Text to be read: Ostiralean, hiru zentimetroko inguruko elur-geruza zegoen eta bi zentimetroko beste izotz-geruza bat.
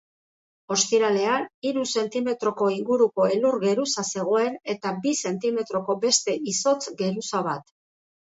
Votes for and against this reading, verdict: 2, 0, accepted